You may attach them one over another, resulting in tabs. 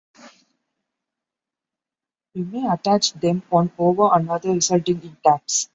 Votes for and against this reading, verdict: 1, 2, rejected